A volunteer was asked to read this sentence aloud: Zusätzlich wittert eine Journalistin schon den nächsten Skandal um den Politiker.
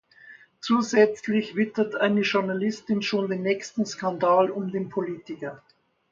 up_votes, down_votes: 2, 0